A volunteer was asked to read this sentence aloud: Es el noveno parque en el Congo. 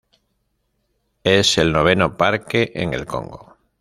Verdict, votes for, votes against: accepted, 2, 0